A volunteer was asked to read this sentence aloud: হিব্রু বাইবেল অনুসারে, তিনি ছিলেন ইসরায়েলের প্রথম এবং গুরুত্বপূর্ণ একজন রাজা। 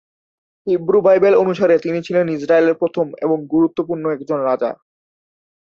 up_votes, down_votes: 1, 2